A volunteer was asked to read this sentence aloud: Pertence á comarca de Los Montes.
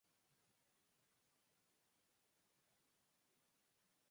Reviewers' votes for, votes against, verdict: 0, 4, rejected